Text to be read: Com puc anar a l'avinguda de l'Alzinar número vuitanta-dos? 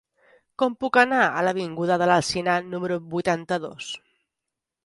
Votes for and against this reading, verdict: 0, 2, rejected